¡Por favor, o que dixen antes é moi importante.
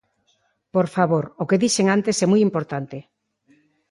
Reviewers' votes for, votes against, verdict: 2, 0, accepted